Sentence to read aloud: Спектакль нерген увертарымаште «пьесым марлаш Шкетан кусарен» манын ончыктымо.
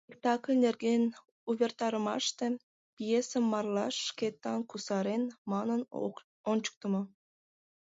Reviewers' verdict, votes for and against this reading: rejected, 0, 2